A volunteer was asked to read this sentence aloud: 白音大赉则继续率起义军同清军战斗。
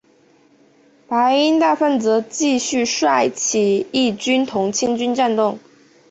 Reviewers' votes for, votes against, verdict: 0, 4, rejected